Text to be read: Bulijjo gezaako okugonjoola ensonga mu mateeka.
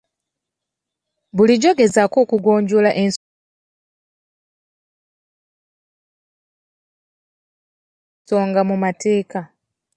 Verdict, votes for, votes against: rejected, 1, 2